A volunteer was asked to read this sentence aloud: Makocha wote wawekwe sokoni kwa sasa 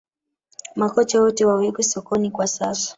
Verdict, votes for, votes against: accepted, 3, 1